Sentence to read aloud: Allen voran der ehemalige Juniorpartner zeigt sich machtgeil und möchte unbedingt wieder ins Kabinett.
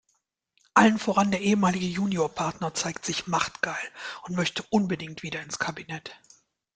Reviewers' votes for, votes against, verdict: 2, 0, accepted